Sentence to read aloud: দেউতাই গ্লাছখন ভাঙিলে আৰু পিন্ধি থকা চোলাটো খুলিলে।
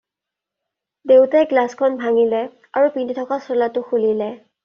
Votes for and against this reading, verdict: 2, 0, accepted